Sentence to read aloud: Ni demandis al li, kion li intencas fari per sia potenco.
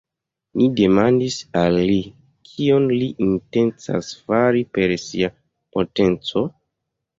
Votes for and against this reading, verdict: 1, 2, rejected